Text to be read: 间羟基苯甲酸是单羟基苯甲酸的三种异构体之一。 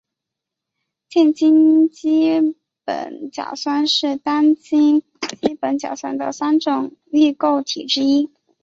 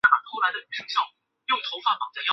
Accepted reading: first